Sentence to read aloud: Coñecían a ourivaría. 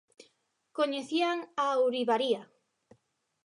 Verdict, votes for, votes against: accepted, 2, 0